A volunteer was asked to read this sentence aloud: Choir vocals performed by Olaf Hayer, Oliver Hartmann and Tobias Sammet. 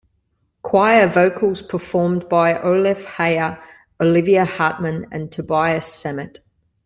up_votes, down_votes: 1, 2